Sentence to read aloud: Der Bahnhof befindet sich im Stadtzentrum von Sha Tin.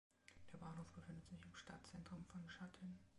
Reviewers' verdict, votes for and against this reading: accepted, 2, 0